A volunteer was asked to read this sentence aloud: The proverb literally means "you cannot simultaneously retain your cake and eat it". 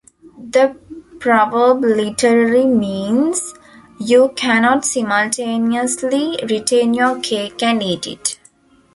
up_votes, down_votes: 2, 1